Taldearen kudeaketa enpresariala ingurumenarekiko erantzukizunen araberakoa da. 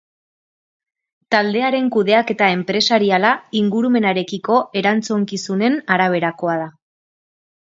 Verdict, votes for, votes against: accepted, 2, 0